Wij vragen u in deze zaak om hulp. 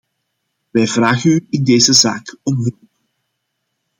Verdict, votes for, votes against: rejected, 1, 2